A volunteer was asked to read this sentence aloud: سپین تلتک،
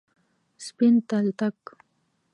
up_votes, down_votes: 0, 2